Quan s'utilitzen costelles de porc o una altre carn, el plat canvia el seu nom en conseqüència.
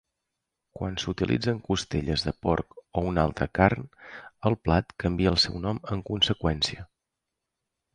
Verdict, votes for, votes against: rejected, 1, 2